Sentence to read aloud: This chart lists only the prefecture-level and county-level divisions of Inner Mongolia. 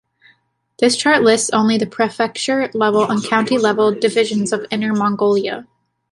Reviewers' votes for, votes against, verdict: 2, 1, accepted